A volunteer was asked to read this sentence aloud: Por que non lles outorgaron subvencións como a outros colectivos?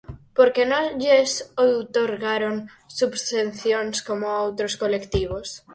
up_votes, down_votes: 0, 4